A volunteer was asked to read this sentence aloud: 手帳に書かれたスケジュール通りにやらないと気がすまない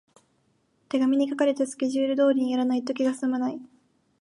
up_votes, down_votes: 0, 2